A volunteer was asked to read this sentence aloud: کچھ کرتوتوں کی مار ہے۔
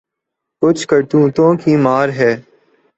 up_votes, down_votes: 8, 0